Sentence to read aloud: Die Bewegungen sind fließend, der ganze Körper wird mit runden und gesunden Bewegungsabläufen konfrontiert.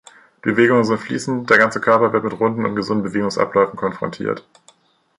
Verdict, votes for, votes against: rejected, 1, 2